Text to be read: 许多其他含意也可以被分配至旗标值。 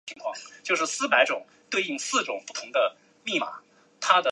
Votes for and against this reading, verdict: 2, 3, rejected